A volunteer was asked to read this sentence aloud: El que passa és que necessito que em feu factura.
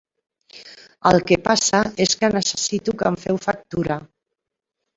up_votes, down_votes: 0, 2